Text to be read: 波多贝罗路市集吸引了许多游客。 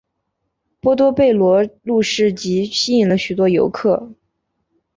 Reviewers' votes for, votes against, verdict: 0, 2, rejected